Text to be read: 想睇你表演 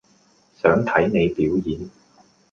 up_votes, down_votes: 2, 0